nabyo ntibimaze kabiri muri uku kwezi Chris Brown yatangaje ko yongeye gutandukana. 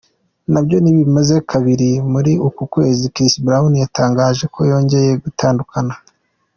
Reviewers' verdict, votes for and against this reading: accepted, 2, 0